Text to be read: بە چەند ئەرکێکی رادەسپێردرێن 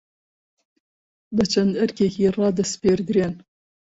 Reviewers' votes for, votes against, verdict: 2, 0, accepted